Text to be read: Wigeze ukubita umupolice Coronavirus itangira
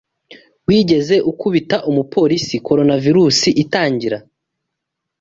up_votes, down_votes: 2, 0